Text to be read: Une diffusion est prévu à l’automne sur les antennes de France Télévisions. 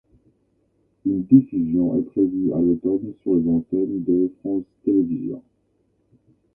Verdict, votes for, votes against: rejected, 1, 2